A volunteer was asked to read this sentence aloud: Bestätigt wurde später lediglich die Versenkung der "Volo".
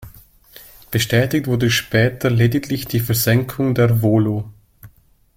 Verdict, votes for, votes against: accepted, 2, 0